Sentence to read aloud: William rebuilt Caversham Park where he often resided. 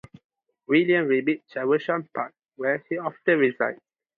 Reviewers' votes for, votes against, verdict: 0, 2, rejected